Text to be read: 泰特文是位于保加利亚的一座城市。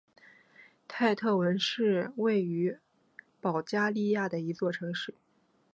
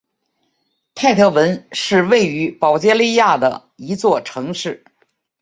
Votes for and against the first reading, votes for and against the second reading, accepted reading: 1, 2, 2, 0, second